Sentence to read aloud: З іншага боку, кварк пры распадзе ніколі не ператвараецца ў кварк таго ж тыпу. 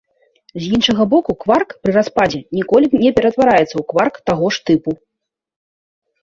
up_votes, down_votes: 2, 0